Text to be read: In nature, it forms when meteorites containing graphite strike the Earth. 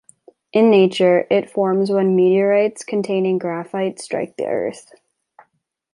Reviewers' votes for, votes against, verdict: 1, 2, rejected